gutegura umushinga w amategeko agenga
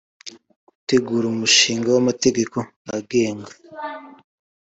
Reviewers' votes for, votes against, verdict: 2, 0, accepted